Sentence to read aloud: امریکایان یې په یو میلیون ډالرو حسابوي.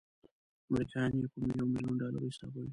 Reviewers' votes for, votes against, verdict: 1, 2, rejected